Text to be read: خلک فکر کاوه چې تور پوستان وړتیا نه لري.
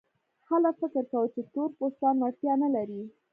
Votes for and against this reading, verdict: 2, 0, accepted